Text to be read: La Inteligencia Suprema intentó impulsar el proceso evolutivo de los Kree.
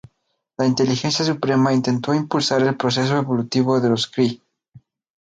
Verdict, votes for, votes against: accepted, 4, 0